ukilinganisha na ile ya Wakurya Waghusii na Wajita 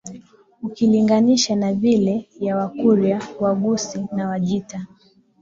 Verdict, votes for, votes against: accepted, 2, 1